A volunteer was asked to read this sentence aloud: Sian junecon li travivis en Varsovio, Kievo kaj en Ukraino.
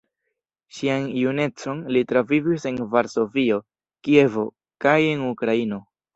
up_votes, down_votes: 1, 2